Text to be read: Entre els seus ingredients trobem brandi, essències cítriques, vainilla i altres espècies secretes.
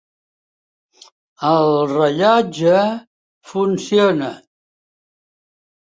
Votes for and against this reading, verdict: 0, 2, rejected